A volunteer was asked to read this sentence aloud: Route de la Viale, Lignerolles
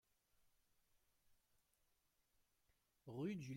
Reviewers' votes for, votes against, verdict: 0, 2, rejected